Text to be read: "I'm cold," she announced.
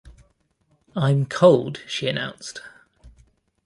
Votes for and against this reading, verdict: 2, 0, accepted